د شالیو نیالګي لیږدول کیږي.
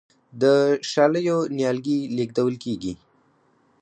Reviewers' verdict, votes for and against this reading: accepted, 4, 2